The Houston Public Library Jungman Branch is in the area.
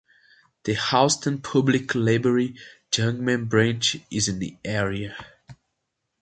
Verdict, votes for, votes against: accepted, 3, 0